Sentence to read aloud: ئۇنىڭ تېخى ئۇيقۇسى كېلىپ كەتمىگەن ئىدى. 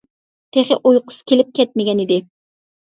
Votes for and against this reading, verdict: 0, 2, rejected